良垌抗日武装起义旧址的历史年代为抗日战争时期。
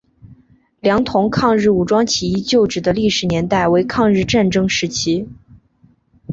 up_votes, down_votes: 0, 2